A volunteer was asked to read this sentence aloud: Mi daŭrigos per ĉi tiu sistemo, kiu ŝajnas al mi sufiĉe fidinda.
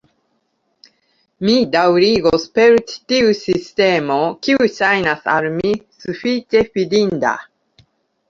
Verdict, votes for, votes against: accepted, 2, 1